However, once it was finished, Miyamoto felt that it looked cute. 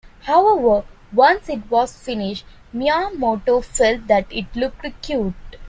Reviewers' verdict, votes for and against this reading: rejected, 0, 2